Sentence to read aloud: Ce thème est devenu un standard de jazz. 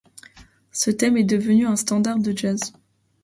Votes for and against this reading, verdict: 2, 0, accepted